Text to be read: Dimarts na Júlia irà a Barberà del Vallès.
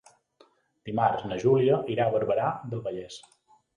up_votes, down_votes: 5, 0